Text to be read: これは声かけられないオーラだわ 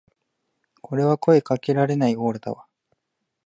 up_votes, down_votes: 2, 0